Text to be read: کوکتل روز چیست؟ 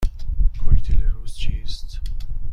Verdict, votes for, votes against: rejected, 1, 2